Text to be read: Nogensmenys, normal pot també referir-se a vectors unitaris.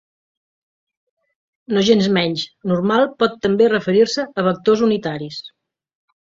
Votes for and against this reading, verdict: 3, 2, accepted